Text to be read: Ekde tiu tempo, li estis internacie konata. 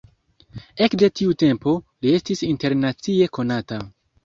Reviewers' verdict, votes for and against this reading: accepted, 2, 0